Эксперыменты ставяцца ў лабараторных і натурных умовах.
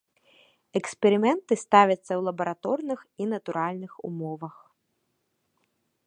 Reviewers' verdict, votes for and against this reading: rejected, 1, 2